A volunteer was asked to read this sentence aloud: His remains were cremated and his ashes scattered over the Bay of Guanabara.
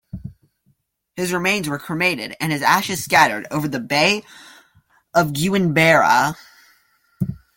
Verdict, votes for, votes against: rejected, 0, 2